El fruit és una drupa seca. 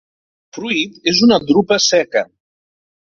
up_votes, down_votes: 0, 2